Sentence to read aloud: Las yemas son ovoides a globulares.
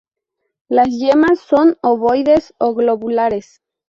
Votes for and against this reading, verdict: 0, 2, rejected